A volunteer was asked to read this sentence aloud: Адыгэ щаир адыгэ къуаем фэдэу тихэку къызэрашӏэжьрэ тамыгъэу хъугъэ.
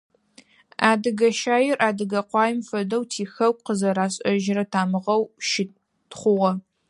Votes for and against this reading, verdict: 0, 4, rejected